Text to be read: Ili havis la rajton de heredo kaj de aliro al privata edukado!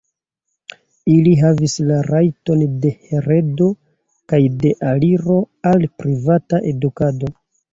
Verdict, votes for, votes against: accepted, 2, 0